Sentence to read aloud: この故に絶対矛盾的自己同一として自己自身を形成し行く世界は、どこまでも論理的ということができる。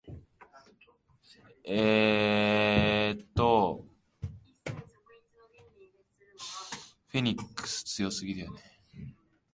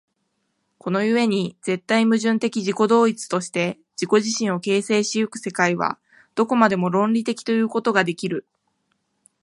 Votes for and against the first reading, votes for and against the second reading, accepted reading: 0, 2, 2, 0, second